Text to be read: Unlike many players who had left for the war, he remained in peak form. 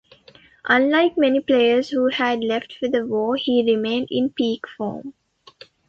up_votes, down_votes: 2, 0